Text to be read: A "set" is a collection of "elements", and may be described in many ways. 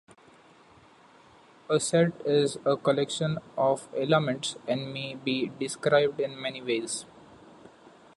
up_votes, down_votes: 2, 0